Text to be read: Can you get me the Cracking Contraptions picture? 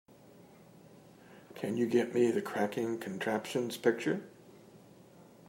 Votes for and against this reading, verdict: 2, 0, accepted